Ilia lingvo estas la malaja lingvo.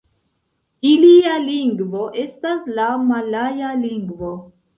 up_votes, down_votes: 0, 2